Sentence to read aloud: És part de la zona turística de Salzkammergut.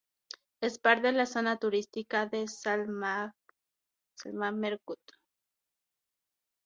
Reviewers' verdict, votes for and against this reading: rejected, 0, 6